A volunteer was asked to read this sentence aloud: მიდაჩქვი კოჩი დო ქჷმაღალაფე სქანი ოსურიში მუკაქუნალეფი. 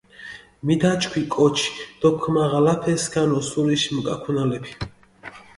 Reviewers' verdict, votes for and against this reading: accepted, 2, 0